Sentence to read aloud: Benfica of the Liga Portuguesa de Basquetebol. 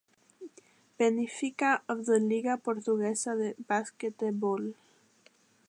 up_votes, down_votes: 1, 2